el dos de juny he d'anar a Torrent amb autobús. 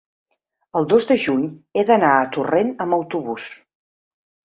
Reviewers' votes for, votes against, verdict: 4, 0, accepted